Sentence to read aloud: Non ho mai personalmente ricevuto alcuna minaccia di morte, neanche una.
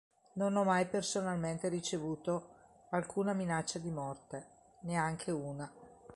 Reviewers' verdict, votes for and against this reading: accepted, 3, 0